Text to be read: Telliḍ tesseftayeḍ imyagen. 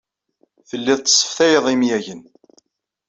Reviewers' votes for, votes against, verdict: 2, 0, accepted